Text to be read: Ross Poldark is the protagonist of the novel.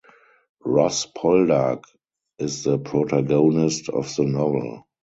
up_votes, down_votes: 4, 2